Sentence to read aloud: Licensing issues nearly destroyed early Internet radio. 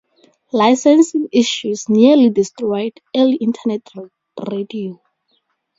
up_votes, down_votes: 0, 2